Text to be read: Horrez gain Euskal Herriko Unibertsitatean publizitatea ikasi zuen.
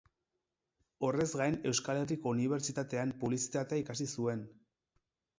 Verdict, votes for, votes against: rejected, 2, 2